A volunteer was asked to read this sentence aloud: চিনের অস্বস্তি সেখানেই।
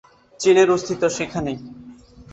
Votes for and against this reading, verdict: 3, 4, rejected